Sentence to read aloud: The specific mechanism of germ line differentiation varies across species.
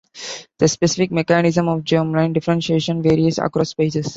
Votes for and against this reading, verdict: 0, 2, rejected